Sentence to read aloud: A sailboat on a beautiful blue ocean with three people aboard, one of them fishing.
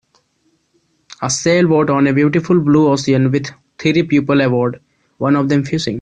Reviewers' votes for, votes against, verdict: 0, 2, rejected